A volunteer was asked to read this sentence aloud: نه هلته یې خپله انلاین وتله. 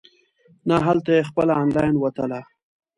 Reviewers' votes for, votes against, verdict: 2, 1, accepted